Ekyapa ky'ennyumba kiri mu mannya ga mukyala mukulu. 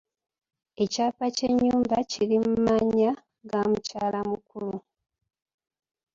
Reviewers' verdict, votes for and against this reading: accepted, 3, 0